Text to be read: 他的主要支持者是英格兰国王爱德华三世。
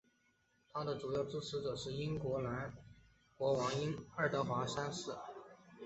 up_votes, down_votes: 2, 0